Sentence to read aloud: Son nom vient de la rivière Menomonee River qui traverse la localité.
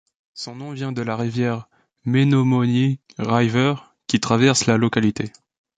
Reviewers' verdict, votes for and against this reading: rejected, 0, 2